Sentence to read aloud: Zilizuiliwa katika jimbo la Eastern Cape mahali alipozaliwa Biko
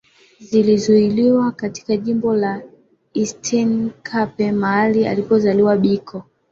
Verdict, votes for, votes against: rejected, 1, 2